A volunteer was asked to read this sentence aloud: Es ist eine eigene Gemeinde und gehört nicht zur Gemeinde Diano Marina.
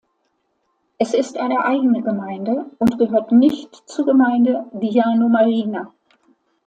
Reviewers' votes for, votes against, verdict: 2, 0, accepted